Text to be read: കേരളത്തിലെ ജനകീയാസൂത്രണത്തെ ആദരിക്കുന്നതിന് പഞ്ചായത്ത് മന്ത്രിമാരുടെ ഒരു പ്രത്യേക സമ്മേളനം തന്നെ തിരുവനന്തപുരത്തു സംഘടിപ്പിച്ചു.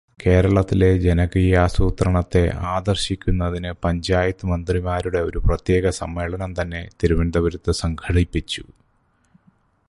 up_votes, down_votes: 0, 2